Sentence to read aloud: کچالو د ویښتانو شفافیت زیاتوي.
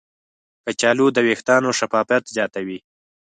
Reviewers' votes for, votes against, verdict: 6, 0, accepted